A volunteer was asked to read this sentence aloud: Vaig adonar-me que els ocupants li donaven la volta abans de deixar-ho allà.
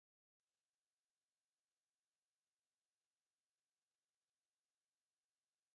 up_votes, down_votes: 0, 2